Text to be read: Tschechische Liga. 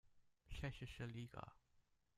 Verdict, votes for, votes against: rejected, 1, 2